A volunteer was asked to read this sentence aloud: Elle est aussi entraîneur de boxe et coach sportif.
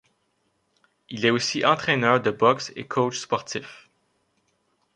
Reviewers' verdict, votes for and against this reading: rejected, 0, 2